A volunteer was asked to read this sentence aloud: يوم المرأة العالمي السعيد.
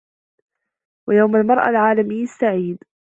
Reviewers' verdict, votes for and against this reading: accepted, 2, 0